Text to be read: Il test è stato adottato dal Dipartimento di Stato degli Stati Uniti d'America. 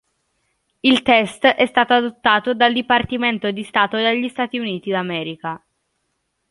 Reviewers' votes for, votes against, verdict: 1, 2, rejected